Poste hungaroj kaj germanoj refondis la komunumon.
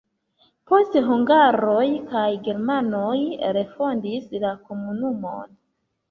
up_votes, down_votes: 2, 0